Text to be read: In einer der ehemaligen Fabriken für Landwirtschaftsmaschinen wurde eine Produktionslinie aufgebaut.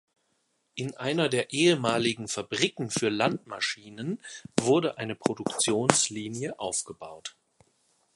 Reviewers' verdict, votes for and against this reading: rejected, 0, 2